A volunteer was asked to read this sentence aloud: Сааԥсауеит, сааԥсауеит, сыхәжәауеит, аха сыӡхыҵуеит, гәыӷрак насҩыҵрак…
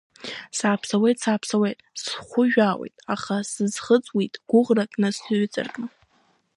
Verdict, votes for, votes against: rejected, 1, 2